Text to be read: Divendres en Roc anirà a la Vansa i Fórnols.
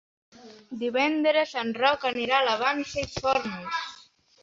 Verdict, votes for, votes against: accepted, 3, 1